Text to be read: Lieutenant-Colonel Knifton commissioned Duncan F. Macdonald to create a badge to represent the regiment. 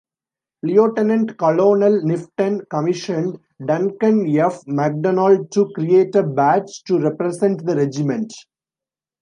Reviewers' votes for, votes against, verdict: 2, 1, accepted